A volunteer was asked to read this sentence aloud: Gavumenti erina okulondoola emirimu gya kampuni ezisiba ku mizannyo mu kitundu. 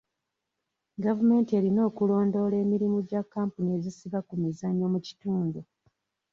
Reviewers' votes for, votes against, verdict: 2, 0, accepted